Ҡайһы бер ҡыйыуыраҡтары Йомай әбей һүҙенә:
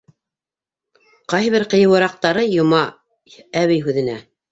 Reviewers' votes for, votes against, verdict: 2, 0, accepted